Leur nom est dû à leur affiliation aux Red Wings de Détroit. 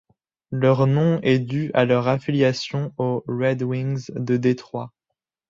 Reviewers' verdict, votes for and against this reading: accepted, 2, 0